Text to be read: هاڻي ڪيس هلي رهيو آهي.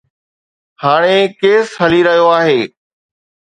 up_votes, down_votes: 2, 0